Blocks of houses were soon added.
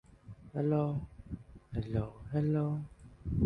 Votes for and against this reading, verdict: 0, 2, rejected